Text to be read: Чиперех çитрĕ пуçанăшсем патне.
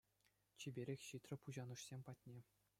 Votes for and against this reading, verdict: 2, 0, accepted